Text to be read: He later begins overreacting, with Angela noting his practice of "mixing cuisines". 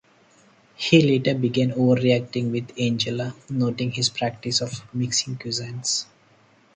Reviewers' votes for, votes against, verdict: 0, 4, rejected